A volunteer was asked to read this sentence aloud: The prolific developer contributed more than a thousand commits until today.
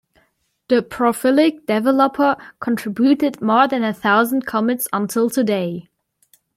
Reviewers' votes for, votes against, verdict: 1, 2, rejected